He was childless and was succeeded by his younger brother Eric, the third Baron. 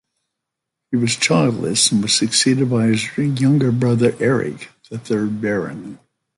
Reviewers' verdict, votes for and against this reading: rejected, 0, 2